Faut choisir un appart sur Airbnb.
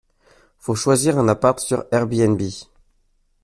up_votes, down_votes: 2, 0